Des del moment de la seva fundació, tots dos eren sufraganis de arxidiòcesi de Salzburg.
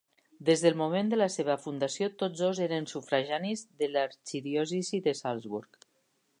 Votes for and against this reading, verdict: 0, 4, rejected